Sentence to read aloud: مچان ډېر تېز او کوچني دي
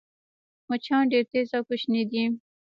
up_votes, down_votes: 2, 1